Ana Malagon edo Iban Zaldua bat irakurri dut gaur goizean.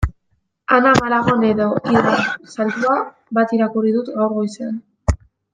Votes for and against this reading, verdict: 0, 2, rejected